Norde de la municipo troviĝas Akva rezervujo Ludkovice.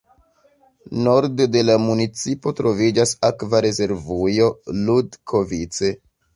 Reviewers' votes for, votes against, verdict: 0, 2, rejected